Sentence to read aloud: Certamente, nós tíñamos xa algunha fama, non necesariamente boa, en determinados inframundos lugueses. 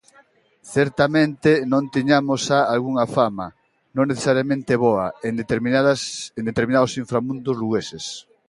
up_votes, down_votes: 0, 2